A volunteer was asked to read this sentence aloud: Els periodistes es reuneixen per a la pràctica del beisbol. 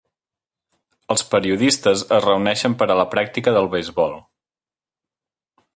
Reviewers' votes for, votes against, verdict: 3, 0, accepted